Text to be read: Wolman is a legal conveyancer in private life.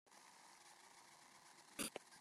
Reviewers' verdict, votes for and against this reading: rejected, 0, 2